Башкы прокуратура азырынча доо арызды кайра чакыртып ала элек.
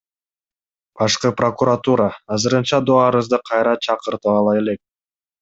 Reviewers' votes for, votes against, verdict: 2, 0, accepted